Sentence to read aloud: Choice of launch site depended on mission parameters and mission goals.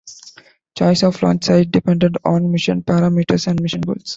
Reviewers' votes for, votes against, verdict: 2, 0, accepted